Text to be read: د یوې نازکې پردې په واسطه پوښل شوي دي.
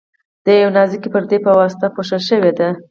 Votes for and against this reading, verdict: 6, 0, accepted